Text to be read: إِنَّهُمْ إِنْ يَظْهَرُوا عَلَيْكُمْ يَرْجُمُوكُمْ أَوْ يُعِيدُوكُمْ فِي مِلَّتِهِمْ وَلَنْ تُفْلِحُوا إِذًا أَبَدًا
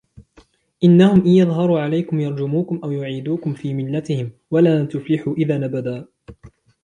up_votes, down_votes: 1, 2